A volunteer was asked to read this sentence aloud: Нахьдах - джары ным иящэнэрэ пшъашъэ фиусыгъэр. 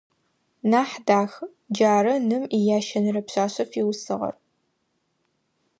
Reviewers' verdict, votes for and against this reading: accepted, 2, 0